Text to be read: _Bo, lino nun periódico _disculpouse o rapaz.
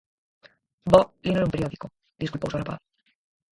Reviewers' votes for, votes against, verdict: 0, 4, rejected